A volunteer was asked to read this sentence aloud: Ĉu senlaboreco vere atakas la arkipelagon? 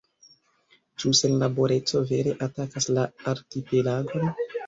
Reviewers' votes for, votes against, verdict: 5, 3, accepted